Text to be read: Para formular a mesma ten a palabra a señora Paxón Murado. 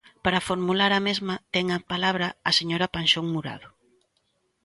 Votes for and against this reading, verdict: 0, 2, rejected